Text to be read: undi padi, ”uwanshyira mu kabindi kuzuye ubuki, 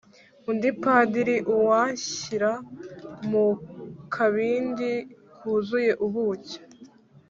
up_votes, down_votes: 1, 2